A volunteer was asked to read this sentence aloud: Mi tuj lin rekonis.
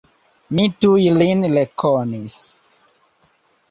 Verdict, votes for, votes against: rejected, 0, 2